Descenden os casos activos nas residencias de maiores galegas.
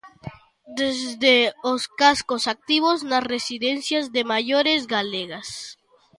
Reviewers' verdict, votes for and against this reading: rejected, 0, 2